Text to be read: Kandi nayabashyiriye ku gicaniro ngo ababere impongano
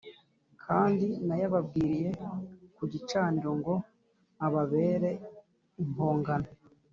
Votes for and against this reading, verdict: 2, 0, accepted